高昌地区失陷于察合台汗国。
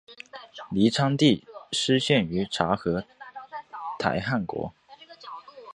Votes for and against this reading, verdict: 3, 1, accepted